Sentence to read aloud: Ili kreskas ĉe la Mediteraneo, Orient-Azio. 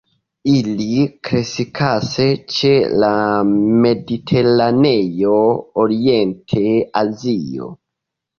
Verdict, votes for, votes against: rejected, 1, 2